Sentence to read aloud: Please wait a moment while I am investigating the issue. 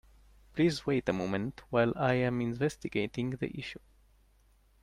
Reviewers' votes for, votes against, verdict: 2, 0, accepted